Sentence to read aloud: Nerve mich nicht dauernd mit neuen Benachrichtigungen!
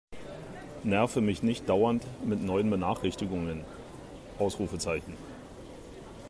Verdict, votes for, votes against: rejected, 1, 2